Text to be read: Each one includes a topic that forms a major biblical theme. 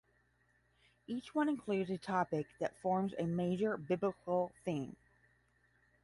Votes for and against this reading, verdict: 5, 5, rejected